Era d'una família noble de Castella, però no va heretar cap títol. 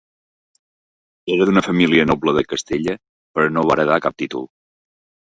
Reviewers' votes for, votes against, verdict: 1, 2, rejected